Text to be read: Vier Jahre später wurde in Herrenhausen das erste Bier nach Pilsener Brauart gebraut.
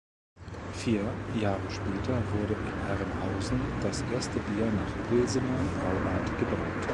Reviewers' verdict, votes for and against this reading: accepted, 2, 0